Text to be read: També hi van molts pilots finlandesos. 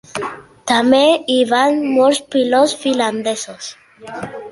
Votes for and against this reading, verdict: 2, 0, accepted